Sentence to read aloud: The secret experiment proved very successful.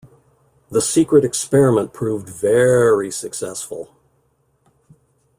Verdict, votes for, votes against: accepted, 2, 0